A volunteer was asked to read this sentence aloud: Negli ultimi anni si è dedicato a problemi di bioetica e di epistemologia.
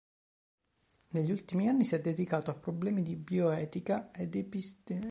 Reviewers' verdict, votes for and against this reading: rejected, 1, 2